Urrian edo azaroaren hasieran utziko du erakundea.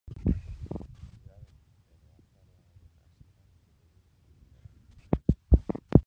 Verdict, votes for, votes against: rejected, 0, 4